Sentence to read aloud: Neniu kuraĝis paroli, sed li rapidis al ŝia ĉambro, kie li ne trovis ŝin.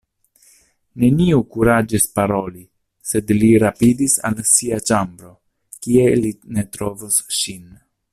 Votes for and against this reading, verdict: 0, 2, rejected